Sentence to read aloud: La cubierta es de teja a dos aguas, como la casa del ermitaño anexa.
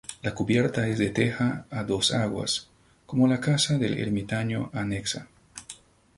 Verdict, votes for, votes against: accepted, 2, 0